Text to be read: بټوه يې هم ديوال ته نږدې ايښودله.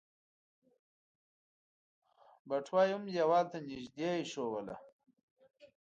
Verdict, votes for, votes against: rejected, 0, 2